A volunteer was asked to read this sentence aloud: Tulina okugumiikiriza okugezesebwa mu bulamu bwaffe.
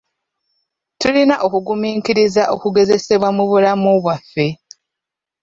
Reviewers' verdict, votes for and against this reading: accepted, 2, 0